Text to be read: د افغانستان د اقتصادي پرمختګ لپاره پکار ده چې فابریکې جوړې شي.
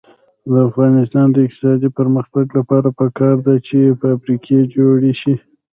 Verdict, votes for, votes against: rejected, 1, 2